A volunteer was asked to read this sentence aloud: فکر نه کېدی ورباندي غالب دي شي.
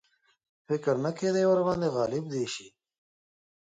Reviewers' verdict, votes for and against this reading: accepted, 2, 0